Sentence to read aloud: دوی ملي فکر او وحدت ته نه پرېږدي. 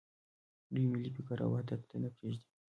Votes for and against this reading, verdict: 1, 2, rejected